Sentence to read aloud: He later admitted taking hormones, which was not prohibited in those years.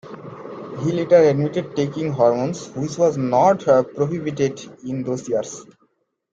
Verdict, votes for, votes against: accepted, 2, 0